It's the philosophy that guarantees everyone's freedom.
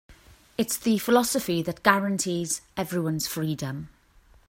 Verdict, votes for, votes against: accepted, 2, 0